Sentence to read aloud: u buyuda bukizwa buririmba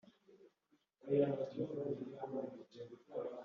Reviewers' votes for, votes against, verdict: 1, 2, rejected